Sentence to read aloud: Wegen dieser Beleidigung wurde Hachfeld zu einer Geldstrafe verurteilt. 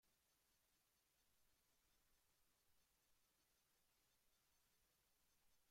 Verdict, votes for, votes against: rejected, 0, 2